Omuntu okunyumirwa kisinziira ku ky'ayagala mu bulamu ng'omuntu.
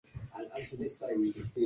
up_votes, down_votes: 0, 2